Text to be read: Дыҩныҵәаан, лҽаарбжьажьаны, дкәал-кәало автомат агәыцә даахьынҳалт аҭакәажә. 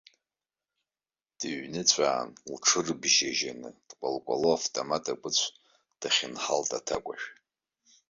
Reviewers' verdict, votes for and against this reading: rejected, 1, 2